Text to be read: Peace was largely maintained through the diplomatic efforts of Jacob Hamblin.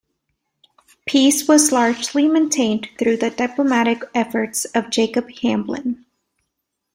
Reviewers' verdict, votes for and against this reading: accepted, 2, 0